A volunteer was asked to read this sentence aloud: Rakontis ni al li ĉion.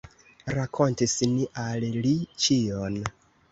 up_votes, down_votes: 2, 0